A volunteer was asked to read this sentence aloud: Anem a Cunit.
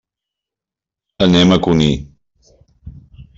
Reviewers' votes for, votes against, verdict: 2, 1, accepted